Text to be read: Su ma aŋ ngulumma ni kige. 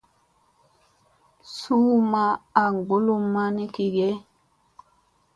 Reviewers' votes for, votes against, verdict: 2, 0, accepted